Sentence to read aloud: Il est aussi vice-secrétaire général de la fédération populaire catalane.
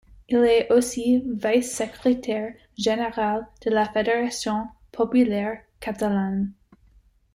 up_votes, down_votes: 1, 2